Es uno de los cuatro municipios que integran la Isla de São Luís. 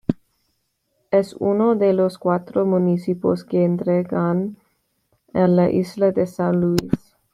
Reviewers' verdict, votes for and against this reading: rejected, 1, 3